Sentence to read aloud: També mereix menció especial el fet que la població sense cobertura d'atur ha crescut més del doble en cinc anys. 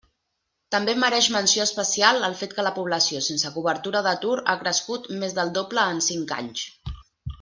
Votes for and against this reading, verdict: 2, 0, accepted